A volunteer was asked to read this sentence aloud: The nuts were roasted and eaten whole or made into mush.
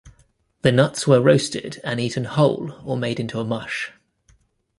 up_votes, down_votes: 1, 2